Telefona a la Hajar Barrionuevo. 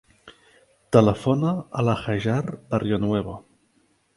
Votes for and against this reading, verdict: 2, 0, accepted